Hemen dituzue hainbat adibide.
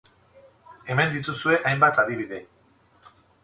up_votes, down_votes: 4, 0